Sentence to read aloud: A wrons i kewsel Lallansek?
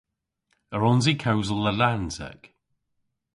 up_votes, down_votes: 2, 0